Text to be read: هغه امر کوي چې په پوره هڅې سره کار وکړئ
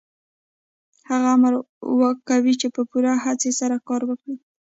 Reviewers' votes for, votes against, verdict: 1, 2, rejected